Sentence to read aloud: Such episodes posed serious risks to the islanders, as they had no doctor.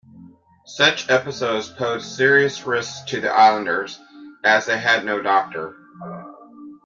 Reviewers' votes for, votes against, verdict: 2, 0, accepted